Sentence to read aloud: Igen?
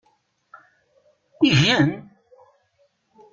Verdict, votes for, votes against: accepted, 2, 0